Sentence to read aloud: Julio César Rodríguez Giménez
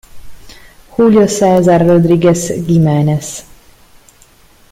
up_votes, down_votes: 2, 0